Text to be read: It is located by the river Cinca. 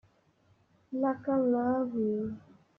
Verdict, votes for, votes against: rejected, 0, 2